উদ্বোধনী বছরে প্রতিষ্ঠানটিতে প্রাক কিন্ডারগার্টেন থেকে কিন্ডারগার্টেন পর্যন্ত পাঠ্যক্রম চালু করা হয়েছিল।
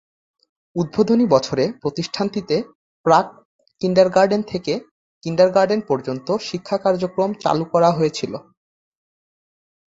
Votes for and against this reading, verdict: 1, 4, rejected